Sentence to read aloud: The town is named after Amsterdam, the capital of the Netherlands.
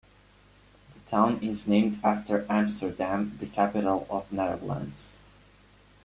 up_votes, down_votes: 2, 0